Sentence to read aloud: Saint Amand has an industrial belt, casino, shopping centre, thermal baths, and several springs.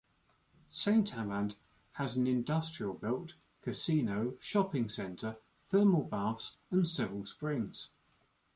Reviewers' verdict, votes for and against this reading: accepted, 2, 0